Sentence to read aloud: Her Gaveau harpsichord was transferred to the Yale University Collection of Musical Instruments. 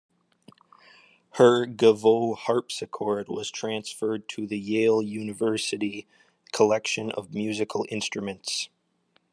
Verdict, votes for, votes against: accepted, 2, 0